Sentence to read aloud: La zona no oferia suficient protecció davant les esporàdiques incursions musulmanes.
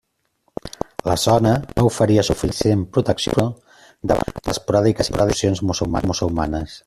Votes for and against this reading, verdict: 0, 2, rejected